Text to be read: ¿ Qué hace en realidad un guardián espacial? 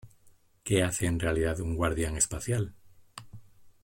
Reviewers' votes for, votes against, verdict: 2, 0, accepted